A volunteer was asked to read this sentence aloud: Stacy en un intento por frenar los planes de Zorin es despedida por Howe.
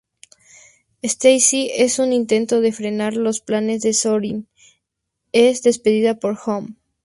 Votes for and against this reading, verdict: 4, 0, accepted